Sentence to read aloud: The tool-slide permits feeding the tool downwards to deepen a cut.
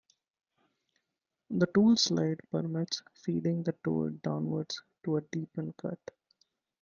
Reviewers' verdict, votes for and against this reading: rejected, 0, 2